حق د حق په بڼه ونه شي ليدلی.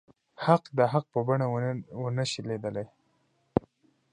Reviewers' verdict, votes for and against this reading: rejected, 0, 2